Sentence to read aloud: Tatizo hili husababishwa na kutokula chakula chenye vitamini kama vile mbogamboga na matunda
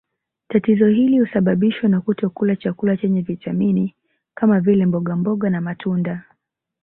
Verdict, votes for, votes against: accepted, 5, 0